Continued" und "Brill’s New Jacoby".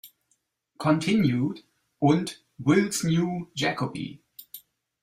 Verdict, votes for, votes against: rejected, 1, 2